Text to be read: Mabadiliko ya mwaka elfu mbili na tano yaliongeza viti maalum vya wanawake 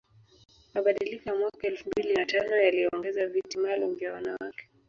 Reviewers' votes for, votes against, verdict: 1, 2, rejected